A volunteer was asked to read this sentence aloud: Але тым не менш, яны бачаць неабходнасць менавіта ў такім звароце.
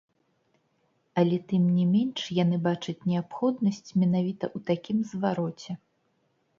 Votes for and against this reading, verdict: 0, 2, rejected